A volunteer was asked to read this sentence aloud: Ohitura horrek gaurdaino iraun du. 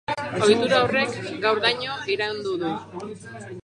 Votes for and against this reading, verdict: 0, 2, rejected